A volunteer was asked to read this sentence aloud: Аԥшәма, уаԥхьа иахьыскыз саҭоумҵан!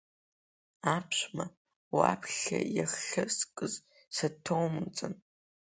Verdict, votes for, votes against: rejected, 0, 2